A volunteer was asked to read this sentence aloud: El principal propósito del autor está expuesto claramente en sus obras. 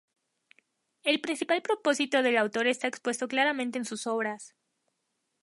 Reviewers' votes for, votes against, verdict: 2, 0, accepted